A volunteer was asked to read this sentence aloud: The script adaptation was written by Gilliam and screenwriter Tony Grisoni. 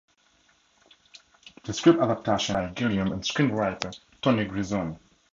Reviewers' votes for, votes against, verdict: 0, 2, rejected